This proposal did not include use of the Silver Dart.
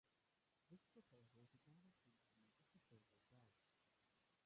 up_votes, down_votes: 0, 2